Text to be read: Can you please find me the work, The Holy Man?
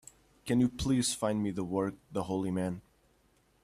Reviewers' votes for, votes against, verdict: 2, 0, accepted